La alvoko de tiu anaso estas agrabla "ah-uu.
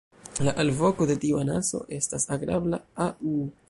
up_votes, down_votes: 0, 2